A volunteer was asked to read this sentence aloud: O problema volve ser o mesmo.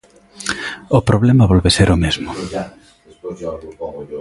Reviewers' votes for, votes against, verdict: 0, 2, rejected